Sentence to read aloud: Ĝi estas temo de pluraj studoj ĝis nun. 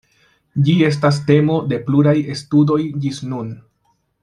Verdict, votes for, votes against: accepted, 2, 0